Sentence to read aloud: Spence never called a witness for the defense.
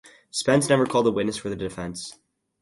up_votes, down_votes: 4, 0